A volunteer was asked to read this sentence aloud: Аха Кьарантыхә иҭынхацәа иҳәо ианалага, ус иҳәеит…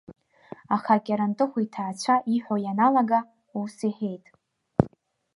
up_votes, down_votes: 1, 2